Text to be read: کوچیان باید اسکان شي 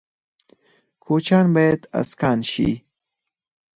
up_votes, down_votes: 0, 4